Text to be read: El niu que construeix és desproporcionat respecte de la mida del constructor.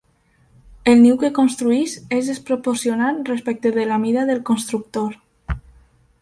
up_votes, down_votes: 2, 0